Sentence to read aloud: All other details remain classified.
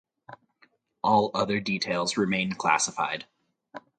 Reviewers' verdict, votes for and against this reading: accepted, 4, 0